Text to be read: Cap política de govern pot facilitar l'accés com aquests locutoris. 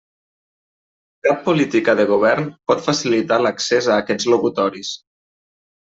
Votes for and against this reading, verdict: 0, 2, rejected